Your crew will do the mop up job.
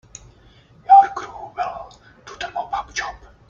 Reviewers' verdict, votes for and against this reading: accepted, 3, 1